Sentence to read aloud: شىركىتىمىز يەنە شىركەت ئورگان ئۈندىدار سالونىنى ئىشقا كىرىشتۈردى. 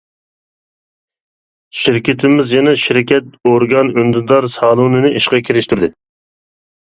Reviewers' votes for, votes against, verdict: 2, 0, accepted